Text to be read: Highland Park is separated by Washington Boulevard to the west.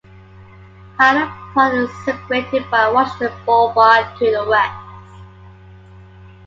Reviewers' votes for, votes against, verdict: 1, 2, rejected